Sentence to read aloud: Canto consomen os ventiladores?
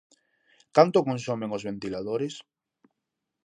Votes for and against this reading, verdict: 2, 0, accepted